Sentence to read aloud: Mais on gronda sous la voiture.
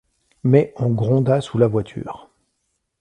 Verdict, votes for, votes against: accepted, 2, 0